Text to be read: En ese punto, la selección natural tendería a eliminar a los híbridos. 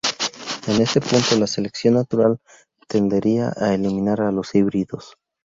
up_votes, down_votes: 2, 2